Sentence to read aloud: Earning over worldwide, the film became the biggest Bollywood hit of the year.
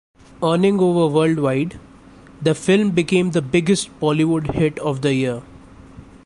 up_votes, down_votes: 1, 2